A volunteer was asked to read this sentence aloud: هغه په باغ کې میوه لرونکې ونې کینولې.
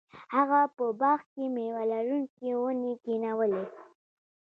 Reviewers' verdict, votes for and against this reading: accepted, 2, 0